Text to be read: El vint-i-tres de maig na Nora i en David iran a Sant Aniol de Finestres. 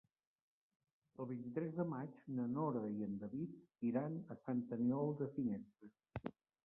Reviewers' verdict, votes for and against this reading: accepted, 2, 0